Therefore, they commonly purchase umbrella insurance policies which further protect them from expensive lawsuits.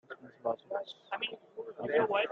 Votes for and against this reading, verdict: 0, 2, rejected